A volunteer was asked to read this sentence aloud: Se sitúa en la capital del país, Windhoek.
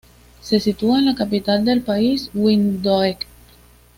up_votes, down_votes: 2, 0